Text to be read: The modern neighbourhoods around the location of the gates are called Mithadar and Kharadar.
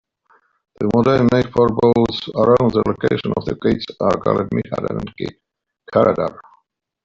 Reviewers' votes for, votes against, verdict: 1, 2, rejected